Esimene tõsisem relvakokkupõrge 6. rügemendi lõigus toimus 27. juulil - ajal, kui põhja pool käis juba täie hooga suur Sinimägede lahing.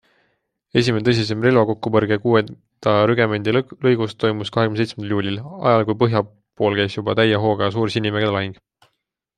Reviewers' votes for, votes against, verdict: 0, 2, rejected